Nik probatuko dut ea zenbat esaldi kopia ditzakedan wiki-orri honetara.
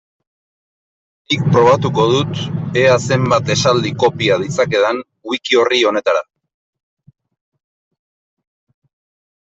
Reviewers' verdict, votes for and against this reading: accepted, 5, 0